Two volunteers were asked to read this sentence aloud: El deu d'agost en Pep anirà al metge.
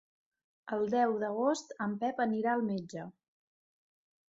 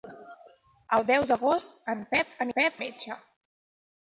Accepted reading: first